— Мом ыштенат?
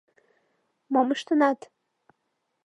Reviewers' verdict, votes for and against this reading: accepted, 2, 0